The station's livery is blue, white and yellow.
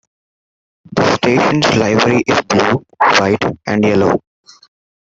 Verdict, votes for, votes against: rejected, 1, 2